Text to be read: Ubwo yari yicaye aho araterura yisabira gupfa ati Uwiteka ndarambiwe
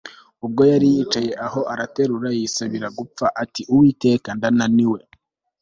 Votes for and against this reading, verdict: 1, 2, rejected